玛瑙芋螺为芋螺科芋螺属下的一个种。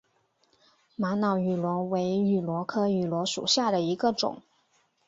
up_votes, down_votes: 2, 1